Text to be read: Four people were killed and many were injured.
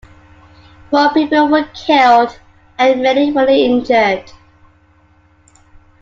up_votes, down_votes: 2, 0